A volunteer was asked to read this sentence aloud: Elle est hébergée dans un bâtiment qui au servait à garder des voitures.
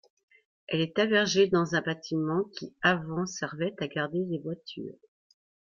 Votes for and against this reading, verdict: 0, 2, rejected